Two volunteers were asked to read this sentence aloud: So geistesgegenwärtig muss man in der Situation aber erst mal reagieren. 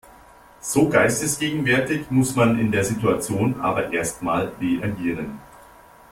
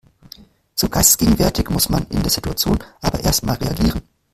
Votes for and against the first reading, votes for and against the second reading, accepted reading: 2, 0, 1, 2, first